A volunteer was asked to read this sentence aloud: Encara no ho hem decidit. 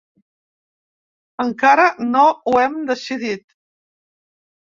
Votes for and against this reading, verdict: 4, 0, accepted